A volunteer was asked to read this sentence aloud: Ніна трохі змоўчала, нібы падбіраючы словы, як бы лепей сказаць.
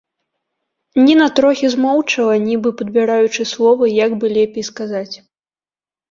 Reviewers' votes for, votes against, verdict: 2, 0, accepted